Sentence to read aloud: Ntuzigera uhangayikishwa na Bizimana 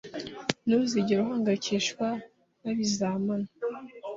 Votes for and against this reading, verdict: 1, 2, rejected